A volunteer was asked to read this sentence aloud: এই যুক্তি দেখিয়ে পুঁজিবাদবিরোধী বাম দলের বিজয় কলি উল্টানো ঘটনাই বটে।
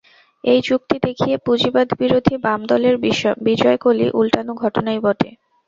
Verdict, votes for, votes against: rejected, 0, 4